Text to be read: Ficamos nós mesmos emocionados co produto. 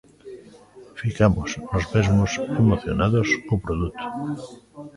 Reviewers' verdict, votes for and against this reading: rejected, 1, 2